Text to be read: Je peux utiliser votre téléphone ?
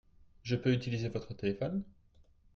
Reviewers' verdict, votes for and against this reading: accepted, 2, 0